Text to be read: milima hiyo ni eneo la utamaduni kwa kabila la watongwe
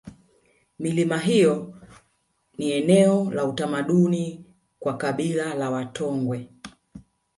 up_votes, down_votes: 0, 2